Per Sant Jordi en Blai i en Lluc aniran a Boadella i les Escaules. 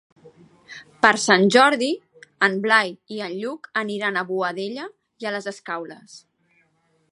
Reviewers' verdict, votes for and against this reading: rejected, 1, 2